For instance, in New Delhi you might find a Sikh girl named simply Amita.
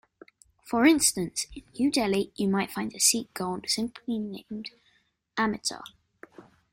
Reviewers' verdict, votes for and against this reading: rejected, 1, 2